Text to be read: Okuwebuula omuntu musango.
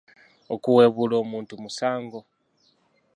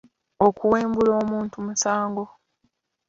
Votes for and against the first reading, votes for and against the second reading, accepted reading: 2, 0, 0, 2, first